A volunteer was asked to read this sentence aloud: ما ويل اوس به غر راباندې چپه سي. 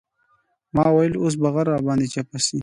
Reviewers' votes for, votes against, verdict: 2, 0, accepted